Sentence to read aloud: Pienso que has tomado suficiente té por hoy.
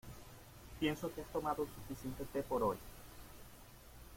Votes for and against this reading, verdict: 2, 1, accepted